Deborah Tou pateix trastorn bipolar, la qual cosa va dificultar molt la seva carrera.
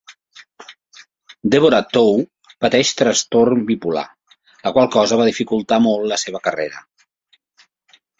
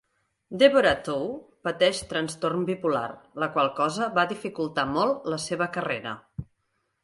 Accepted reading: first